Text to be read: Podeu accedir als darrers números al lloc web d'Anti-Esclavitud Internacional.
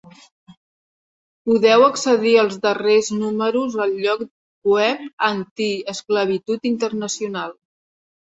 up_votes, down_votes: 0, 2